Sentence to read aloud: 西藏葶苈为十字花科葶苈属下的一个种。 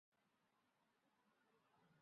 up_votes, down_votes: 0, 2